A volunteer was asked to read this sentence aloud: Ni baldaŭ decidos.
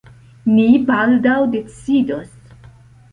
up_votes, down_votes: 2, 0